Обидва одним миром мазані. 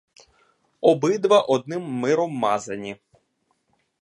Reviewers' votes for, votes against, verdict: 2, 0, accepted